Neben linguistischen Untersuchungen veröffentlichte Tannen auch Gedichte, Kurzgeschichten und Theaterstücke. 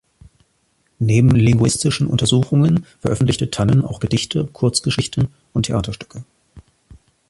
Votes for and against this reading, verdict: 2, 0, accepted